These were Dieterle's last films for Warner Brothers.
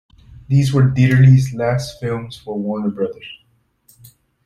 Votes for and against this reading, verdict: 2, 0, accepted